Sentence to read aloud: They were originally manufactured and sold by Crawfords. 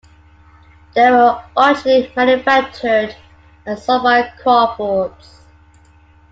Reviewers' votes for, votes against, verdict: 0, 2, rejected